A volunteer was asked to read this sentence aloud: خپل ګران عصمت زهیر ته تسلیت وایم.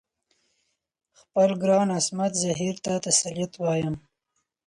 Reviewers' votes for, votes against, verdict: 4, 0, accepted